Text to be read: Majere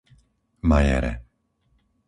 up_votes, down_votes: 4, 0